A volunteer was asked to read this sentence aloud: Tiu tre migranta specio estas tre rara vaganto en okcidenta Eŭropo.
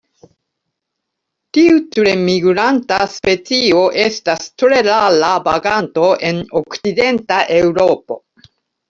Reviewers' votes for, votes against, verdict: 0, 2, rejected